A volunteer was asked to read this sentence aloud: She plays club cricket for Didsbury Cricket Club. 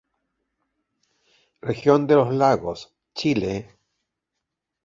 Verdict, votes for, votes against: rejected, 0, 2